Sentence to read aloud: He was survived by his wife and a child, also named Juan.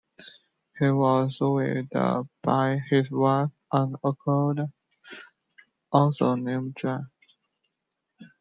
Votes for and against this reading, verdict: 0, 2, rejected